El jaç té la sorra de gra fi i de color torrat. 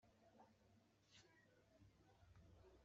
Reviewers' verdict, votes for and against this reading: rejected, 0, 3